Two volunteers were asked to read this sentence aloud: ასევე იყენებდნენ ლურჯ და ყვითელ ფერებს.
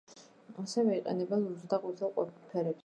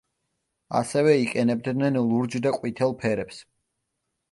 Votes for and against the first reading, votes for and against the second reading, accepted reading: 0, 2, 2, 0, second